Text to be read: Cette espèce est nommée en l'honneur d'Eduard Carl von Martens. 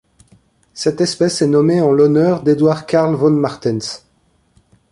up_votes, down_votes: 2, 0